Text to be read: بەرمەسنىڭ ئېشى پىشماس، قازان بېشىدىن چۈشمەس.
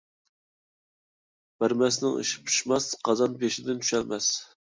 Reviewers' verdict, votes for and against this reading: rejected, 1, 2